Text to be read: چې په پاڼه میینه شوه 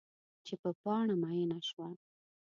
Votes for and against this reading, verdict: 2, 0, accepted